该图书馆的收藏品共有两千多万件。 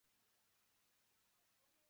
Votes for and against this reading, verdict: 0, 2, rejected